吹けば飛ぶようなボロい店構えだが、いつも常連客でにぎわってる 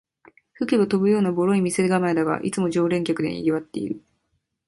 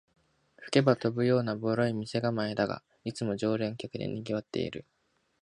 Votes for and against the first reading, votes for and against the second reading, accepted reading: 3, 0, 0, 2, first